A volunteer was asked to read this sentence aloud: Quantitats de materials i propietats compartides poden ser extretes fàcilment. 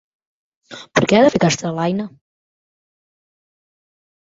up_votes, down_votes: 0, 2